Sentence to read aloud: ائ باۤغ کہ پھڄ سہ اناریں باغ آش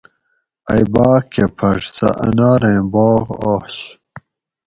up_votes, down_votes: 4, 0